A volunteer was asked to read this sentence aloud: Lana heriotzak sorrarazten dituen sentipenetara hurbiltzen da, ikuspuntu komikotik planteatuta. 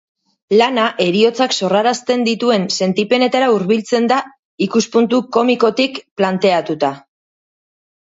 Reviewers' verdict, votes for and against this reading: accepted, 2, 0